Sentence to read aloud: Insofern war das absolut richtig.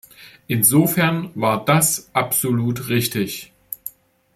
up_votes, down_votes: 2, 0